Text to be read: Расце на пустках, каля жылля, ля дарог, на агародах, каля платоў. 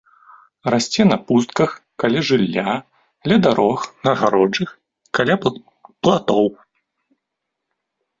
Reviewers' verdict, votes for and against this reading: rejected, 0, 2